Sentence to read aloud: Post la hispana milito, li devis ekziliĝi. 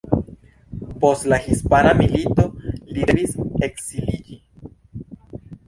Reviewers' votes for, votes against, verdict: 1, 2, rejected